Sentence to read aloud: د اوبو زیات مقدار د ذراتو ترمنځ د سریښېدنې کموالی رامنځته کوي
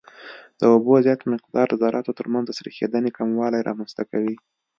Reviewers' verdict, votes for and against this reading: accepted, 2, 0